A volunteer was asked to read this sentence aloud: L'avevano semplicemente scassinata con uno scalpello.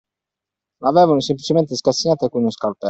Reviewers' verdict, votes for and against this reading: accepted, 2, 1